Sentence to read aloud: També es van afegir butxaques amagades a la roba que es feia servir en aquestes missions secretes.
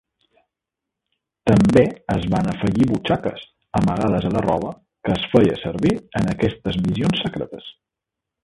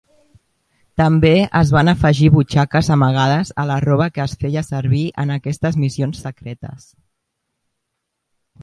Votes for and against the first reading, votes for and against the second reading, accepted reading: 0, 2, 2, 0, second